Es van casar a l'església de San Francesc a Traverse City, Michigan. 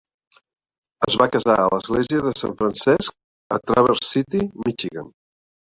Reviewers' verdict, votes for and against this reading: rejected, 2, 3